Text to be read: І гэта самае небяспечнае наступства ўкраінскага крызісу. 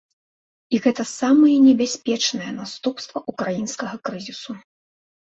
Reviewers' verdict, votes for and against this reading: accepted, 2, 0